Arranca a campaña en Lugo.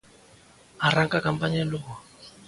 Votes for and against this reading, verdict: 2, 0, accepted